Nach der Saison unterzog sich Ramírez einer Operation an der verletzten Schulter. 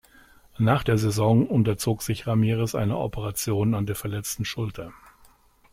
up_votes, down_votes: 2, 0